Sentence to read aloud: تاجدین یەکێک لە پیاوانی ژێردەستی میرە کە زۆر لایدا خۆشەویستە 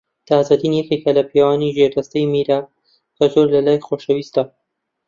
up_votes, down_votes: 0, 2